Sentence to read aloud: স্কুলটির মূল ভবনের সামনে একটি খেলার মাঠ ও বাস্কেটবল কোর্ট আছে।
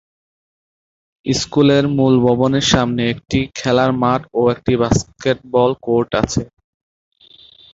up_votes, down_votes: 0, 3